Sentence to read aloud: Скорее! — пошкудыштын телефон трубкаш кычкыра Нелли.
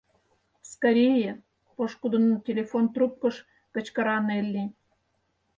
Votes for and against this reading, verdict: 0, 4, rejected